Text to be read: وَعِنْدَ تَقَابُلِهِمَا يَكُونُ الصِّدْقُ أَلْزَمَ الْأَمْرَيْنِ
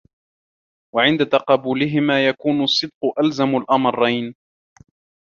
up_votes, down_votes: 2, 1